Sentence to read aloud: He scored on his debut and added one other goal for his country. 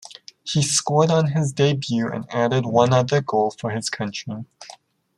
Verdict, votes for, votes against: accepted, 2, 1